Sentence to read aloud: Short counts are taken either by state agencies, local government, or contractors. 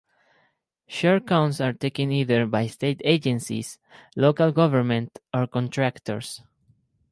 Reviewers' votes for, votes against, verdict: 4, 0, accepted